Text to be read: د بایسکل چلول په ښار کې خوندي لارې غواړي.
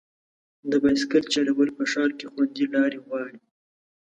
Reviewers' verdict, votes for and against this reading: accepted, 2, 0